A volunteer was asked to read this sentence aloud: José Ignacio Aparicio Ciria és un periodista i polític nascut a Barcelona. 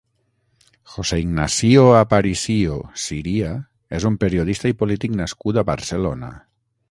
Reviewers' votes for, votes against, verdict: 3, 6, rejected